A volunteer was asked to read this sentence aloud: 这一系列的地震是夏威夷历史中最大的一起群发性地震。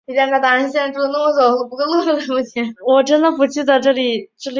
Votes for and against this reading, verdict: 0, 3, rejected